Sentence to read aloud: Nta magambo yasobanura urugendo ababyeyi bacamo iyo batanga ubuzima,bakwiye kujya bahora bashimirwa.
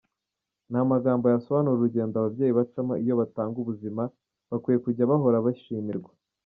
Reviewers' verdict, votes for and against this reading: accepted, 2, 1